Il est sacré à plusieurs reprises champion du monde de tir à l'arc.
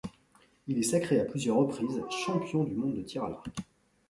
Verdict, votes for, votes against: accepted, 2, 0